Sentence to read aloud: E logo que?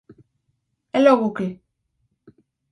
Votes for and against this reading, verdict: 4, 0, accepted